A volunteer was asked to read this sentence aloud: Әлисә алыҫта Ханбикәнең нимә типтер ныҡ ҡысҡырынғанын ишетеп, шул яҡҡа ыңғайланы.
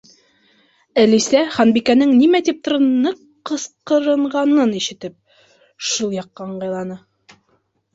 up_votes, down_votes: 1, 3